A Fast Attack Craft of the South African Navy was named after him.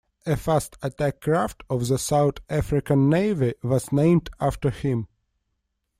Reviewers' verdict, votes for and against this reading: accepted, 2, 0